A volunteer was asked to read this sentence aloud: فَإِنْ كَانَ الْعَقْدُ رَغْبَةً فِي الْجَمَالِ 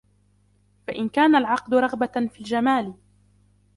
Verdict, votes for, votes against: accepted, 2, 1